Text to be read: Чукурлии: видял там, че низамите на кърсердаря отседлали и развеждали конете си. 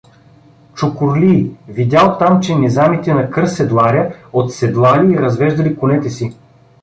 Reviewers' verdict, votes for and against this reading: rejected, 1, 2